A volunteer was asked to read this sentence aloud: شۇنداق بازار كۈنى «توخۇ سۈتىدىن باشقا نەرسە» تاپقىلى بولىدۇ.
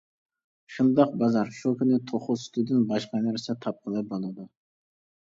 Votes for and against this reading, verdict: 1, 2, rejected